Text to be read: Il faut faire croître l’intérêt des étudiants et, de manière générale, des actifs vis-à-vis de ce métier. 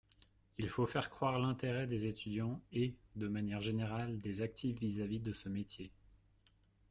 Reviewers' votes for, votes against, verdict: 1, 2, rejected